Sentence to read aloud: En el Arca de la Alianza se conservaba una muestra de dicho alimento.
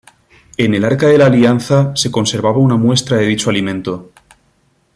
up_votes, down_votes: 2, 0